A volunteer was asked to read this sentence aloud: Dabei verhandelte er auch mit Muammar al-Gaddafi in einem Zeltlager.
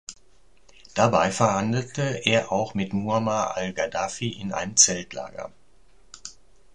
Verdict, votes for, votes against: accepted, 2, 0